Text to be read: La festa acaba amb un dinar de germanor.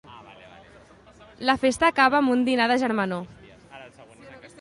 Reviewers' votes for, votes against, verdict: 2, 0, accepted